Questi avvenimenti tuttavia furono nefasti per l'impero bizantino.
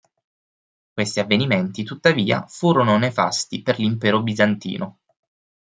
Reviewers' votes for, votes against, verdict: 6, 0, accepted